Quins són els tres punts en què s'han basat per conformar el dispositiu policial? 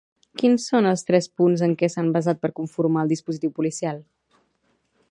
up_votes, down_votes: 0, 2